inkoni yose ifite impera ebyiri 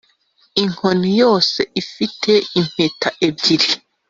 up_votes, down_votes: 0, 2